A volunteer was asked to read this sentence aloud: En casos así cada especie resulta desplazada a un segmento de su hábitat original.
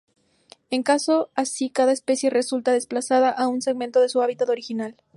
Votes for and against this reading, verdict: 2, 2, rejected